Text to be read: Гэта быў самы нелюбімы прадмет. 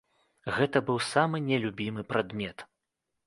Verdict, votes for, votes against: accepted, 2, 0